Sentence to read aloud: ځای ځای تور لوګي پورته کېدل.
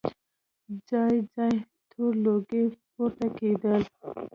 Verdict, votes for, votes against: rejected, 0, 2